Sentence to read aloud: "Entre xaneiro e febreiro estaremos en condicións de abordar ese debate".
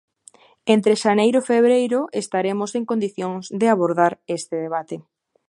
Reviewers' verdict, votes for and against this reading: rejected, 0, 2